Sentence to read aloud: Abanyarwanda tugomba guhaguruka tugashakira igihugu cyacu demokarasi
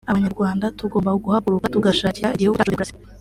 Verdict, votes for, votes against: accepted, 2, 1